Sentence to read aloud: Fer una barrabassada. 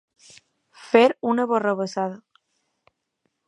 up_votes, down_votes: 2, 0